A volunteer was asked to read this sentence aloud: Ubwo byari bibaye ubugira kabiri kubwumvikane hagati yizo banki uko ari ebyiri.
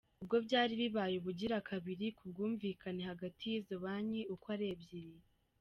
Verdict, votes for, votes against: accepted, 2, 0